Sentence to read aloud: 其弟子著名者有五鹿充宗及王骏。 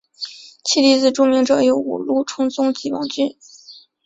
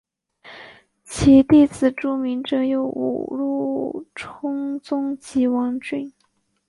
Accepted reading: first